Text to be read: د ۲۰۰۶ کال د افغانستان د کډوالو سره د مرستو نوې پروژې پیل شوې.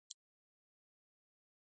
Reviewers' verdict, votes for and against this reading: rejected, 0, 2